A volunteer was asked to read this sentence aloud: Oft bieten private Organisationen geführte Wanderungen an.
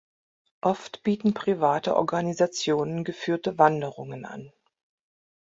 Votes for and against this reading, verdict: 3, 0, accepted